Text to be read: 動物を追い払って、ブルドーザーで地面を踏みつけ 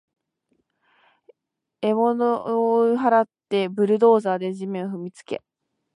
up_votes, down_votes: 0, 2